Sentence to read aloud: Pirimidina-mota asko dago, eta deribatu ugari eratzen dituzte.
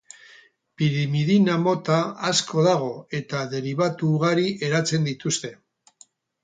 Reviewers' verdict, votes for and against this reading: rejected, 2, 2